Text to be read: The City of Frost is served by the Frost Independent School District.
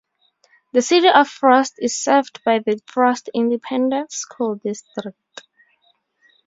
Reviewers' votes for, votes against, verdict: 0, 2, rejected